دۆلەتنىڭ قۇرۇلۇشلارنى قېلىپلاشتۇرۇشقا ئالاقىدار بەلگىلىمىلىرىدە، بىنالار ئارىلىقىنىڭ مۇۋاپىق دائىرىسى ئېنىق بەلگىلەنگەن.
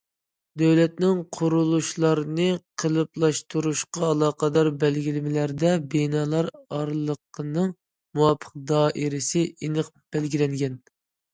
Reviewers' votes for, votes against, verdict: 0, 2, rejected